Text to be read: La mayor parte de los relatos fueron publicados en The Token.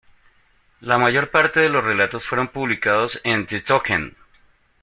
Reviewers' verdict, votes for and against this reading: accepted, 2, 1